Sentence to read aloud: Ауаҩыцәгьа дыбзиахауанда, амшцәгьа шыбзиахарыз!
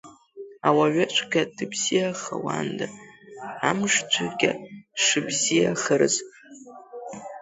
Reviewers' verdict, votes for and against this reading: accepted, 2, 0